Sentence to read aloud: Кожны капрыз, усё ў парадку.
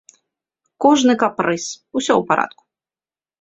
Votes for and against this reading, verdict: 2, 0, accepted